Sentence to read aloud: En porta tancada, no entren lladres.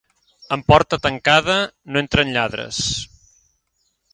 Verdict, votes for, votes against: accepted, 2, 0